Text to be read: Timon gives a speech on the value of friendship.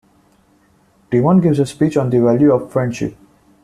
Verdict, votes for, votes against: accepted, 2, 0